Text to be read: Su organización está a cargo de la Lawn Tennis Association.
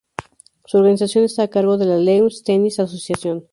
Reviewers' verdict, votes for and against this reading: accepted, 2, 0